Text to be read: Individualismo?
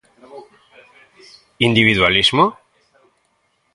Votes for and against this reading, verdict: 2, 0, accepted